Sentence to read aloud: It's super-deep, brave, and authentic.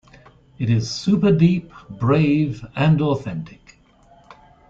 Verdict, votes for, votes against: accepted, 2, 0